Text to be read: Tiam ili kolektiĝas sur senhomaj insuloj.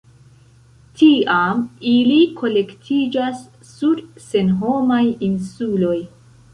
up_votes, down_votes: 2, 1